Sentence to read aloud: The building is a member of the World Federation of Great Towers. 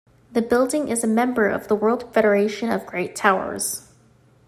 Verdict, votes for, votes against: accepted, 2, 0